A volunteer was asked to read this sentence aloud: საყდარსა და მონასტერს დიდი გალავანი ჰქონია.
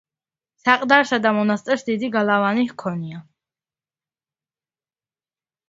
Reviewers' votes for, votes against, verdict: 2, 0, accepted